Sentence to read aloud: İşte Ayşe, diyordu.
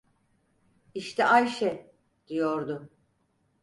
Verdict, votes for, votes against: accepted, 4, 0